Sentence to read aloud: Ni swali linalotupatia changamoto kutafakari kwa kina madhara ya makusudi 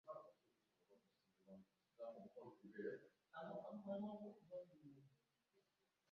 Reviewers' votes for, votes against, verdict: 0, 2, rejected